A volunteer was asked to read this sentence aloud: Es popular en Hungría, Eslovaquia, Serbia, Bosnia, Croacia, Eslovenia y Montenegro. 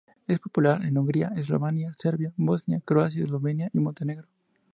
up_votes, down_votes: 0, 2